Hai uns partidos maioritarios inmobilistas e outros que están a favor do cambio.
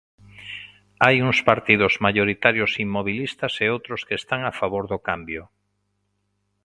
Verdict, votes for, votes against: accepted, 2, 0